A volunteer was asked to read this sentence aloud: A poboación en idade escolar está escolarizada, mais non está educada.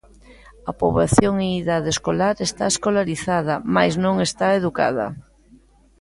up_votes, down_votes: 1, 2